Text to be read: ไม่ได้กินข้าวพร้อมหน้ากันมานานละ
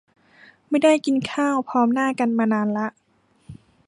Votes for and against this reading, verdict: 2, 0, accepted